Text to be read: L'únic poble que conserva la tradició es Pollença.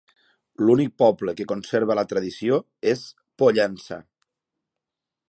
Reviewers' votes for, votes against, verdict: 2, 0, accepted